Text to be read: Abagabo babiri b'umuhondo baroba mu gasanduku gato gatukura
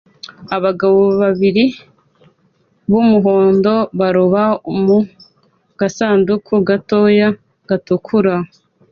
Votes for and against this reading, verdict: 2, 0, accepted